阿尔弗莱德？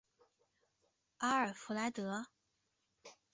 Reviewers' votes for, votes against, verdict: 2, 0, accepted